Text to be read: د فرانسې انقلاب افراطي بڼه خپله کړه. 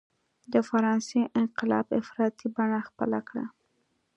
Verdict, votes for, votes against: accepted, 2, 0